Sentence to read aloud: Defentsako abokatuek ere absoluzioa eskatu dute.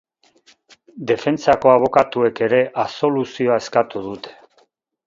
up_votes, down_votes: 2, 2